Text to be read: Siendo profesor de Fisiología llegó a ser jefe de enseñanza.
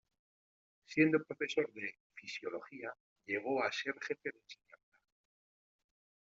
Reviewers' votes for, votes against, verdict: 1, 2, rejected